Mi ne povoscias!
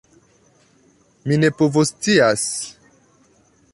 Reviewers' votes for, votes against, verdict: 2, 1, accepted